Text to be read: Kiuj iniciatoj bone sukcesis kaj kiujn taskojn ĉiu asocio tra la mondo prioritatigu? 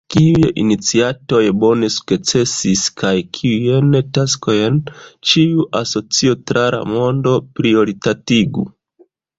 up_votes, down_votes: 0, 2